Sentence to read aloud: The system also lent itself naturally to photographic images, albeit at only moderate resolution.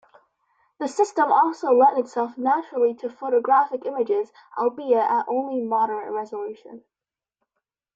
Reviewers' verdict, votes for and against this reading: accepted, 2, 0